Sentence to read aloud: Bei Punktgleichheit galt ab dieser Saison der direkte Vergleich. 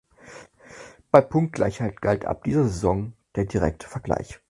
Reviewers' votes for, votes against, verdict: 4, 0, accepted